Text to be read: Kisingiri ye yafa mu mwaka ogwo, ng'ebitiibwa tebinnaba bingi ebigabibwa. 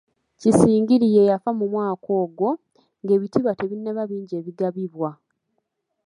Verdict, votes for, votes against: accepted, 2, 0